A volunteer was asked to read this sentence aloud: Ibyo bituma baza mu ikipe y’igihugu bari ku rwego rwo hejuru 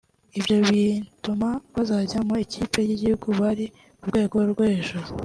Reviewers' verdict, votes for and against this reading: rejected, 1, 2